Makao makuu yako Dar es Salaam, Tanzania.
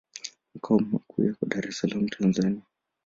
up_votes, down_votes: 3, 4